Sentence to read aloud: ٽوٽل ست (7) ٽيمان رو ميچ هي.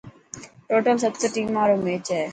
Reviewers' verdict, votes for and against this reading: rejected, 0, 2